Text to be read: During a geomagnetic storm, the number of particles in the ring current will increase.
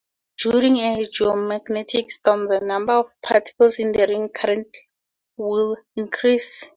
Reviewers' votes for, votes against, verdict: 2, 0, accepted